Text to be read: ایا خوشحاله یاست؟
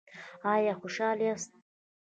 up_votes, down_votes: 2, 0